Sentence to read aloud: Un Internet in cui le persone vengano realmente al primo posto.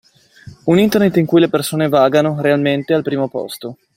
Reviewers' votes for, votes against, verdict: 0, 2, rejected